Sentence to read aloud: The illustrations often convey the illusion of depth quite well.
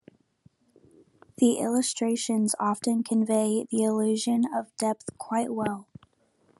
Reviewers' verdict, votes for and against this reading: accepted, 3, 0